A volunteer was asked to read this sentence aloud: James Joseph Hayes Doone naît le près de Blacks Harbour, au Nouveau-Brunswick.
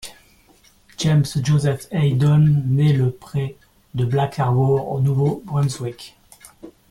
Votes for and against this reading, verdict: 2, 1, accepted